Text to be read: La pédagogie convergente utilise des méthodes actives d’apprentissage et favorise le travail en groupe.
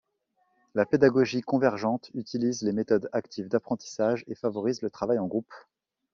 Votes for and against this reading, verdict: 1, 2, rejected